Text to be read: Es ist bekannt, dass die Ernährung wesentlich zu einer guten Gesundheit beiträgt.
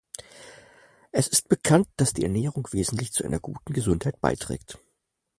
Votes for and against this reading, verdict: 4, 0, accepted